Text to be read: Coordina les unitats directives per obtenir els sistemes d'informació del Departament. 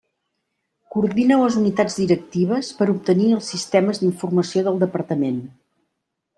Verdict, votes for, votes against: rejected, 1, 2